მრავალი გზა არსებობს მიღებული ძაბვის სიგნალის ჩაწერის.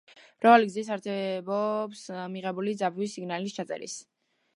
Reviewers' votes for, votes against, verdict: 0, 2, rejected